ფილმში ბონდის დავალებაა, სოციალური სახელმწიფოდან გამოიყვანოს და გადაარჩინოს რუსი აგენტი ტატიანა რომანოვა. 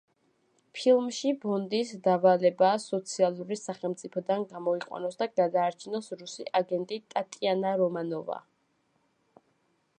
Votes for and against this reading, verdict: 2, 0, accepted